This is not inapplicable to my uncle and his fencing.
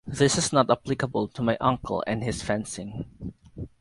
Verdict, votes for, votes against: rejected, 0, 4